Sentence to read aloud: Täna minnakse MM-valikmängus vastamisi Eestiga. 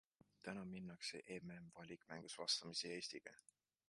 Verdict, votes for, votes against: accepted, 2, 0